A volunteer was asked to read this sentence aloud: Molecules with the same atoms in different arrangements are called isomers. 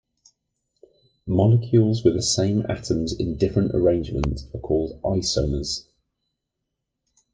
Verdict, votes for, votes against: accepted, 2, 0